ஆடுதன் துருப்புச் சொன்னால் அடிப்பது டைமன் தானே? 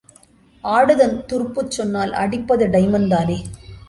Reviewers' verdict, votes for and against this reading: accepted, 2, 0